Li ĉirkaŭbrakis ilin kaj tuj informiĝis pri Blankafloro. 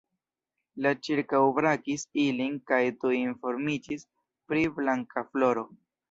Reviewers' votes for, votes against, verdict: 2, 1, accepted